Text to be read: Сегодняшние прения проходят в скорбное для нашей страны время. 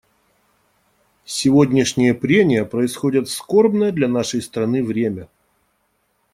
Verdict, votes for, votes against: rejected, 0, 2